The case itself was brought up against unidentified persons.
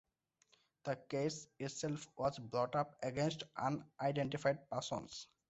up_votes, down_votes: 0, 2